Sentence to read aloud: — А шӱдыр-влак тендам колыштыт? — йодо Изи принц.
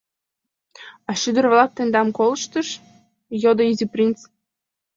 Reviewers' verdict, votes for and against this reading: rejected, 1, 2